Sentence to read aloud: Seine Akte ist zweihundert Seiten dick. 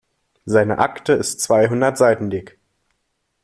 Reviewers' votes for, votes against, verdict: 2, 0, accepted